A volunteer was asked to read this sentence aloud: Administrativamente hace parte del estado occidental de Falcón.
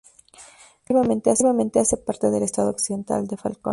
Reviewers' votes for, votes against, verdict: 0, 2, rejected